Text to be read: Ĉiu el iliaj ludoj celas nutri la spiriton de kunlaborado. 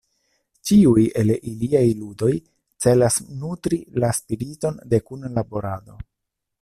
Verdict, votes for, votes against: rejected, 0, 2